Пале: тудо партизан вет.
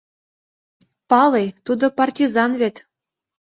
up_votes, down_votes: 2, 0